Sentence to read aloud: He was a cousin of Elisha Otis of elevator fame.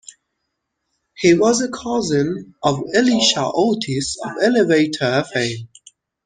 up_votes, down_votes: 0, 2